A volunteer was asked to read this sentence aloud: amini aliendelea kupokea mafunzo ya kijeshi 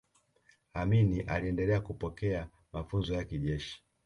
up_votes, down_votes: 2, 0